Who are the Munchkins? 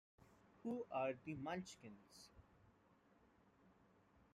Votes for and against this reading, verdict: 2, 0, accepted